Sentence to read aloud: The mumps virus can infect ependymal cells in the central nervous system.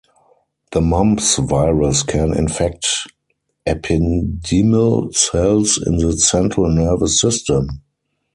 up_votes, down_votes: 4, 0